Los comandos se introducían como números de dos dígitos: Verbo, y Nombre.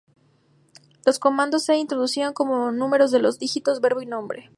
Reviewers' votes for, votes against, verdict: 0, 2, rejected